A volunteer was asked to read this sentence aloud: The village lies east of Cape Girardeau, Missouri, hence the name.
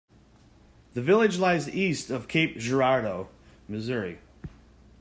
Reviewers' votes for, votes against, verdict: 0, 2, rejected